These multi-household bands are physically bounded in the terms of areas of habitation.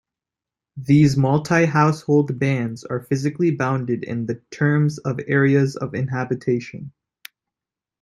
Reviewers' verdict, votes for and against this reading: rejected, 1, 2